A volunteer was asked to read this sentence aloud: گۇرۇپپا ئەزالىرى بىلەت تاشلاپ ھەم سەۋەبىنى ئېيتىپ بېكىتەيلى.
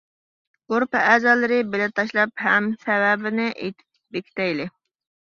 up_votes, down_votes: 1, 2